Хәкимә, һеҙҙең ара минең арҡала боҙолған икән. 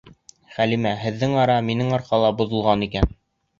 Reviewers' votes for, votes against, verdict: 0, 4, rejected